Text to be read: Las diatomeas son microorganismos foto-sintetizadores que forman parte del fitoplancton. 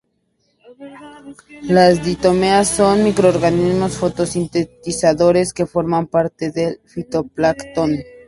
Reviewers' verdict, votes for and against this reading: rejected, 0, 2